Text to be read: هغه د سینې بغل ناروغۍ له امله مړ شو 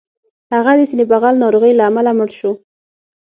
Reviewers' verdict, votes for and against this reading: accepted, 6, 0